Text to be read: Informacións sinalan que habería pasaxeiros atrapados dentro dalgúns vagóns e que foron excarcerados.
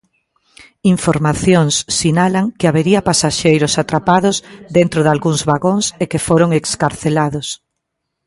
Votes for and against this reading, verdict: 0, 2, rejected